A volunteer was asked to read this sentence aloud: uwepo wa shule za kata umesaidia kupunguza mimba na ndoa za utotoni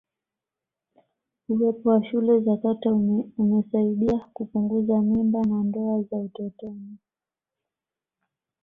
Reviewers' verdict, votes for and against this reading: accepted, 2, 0